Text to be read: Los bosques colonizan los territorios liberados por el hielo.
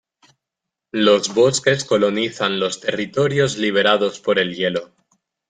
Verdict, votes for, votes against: accepted, 2, 0